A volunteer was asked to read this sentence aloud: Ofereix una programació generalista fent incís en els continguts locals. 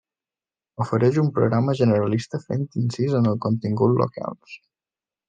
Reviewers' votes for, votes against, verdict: 0, 2, rejected